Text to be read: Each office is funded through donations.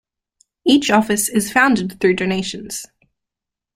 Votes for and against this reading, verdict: 1, 2, rejected